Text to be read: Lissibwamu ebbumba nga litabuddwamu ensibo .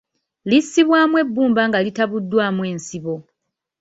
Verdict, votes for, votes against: accepted, 2, 0